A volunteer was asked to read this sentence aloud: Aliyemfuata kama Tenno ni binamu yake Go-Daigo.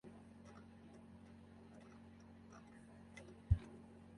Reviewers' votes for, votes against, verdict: 0, 3, rejected